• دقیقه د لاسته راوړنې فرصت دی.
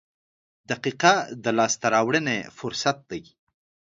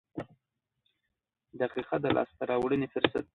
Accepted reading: first